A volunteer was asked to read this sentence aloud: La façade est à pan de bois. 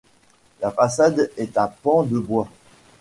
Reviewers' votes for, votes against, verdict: 2, 0, accepted